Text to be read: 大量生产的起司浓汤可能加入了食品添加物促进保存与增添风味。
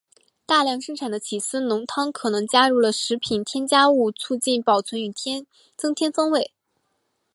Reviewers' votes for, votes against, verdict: 3, 2, accepted